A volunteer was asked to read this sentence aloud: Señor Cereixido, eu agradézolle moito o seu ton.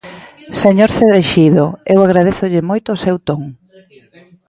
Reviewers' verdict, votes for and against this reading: rejected, 1, 2